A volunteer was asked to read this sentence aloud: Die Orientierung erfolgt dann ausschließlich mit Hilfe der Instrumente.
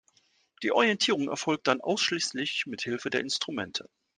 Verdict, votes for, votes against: accepted, 2, 0